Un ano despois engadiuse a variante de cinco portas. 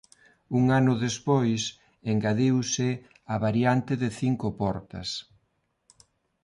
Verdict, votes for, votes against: accepted, 2, 0